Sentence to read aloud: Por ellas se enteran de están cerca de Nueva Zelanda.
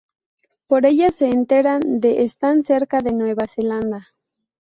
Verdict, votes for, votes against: rejected, 0, 2